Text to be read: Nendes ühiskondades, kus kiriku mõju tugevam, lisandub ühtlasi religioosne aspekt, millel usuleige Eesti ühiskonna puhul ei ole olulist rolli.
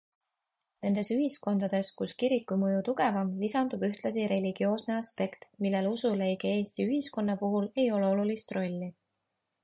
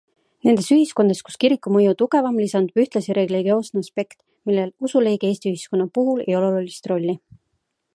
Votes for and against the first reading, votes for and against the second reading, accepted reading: 2, 0, 1, 2, first